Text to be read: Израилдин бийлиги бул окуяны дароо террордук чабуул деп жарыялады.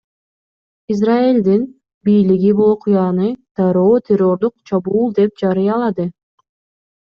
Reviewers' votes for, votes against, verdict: 2, 0, accepted